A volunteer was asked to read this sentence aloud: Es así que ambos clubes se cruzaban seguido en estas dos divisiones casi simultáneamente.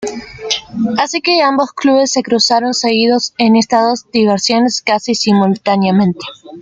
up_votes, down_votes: 2, 0